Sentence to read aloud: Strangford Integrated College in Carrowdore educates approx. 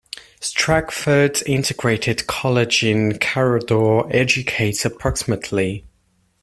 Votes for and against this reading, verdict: 1, 2, rejected